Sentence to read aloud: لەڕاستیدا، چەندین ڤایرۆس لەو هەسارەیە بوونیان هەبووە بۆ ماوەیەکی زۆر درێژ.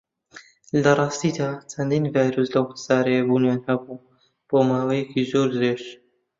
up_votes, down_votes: 1, 2